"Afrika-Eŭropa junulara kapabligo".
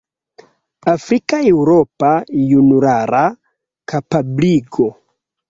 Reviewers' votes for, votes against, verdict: 1, 2, rejected